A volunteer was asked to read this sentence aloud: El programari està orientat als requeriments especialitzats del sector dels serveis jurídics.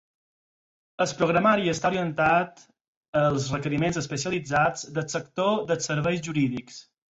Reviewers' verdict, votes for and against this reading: accepted, 4, 2